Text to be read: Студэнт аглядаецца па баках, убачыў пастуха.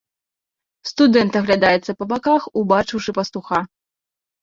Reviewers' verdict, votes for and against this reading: rejected, 1, 2